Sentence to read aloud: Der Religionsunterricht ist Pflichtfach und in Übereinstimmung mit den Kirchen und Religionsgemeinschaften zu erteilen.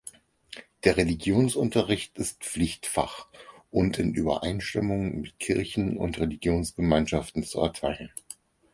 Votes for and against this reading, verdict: 0, 4, rejected